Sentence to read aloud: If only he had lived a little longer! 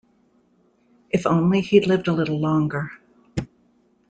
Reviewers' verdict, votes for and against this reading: rejected, 1, 2